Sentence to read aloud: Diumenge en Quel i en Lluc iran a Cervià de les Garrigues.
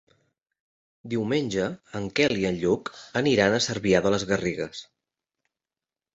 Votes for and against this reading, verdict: 0, 2, rejected